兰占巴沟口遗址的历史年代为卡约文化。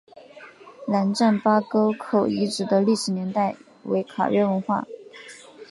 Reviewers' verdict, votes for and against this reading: accepted, 2, 0